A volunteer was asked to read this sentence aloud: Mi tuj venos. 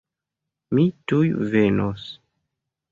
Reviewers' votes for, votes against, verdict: 2, 0, accepted